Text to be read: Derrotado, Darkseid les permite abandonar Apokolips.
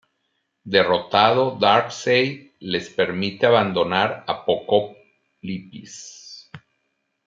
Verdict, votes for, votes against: rejected, 0, 2